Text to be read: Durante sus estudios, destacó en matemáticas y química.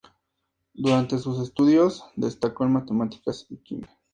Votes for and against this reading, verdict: 2, 0, accepted